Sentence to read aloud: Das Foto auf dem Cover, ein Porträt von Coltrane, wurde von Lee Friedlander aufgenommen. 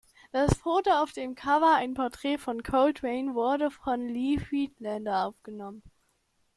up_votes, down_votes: 2, 0